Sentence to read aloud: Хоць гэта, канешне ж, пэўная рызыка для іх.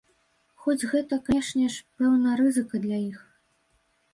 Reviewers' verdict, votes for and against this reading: rejected, 1, 2